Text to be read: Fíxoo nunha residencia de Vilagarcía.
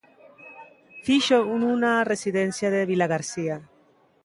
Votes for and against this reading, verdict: 0, 2, rejected